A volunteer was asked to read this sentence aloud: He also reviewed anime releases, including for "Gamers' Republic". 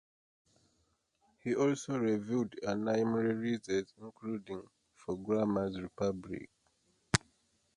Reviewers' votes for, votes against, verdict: 0, 2, rejected